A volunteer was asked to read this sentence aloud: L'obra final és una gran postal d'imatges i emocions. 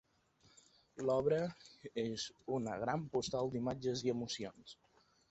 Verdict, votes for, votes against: rejected, 0, 2